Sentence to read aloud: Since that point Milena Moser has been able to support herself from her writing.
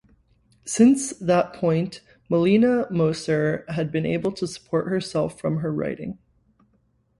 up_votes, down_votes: 0, 2